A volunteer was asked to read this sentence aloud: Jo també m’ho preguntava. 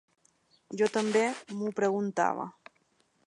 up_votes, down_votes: 3, 0